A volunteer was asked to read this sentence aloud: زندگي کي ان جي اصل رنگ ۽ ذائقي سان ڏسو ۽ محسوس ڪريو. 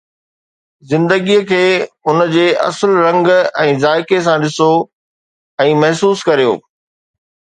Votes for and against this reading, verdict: 2, 0, accepted